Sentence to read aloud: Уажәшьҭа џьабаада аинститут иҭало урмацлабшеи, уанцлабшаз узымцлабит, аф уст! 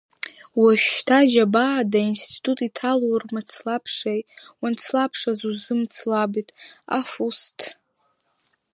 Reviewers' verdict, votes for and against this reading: accepted, 3, 0